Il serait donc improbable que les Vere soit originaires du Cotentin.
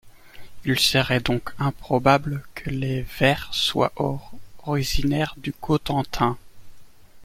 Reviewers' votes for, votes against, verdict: 2, 0, accepted